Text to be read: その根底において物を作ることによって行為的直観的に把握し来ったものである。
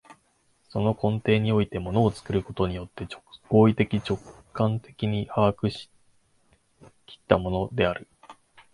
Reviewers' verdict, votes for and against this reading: rejected, 1, 2